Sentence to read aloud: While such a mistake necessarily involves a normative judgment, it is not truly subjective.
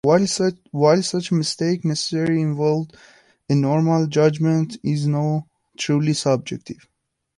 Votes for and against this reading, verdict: 0, 2, rejected